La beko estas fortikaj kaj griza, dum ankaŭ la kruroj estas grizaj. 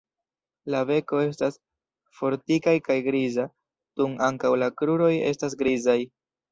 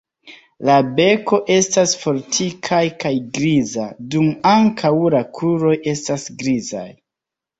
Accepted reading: second